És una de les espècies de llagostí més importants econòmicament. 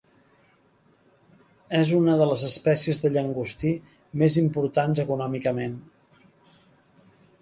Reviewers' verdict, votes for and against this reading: rejected, 0, 2